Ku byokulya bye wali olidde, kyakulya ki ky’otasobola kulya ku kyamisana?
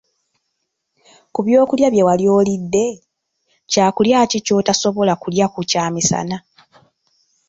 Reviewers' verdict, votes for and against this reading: rejected, 1, 2